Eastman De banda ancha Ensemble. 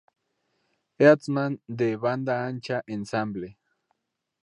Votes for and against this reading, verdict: 0, 2, rejected